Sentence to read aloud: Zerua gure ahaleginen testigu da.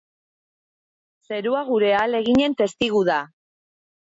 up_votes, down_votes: 2, 0